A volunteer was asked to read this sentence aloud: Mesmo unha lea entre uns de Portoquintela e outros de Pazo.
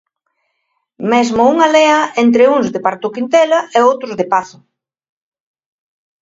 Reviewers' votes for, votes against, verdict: 2, 3, rejected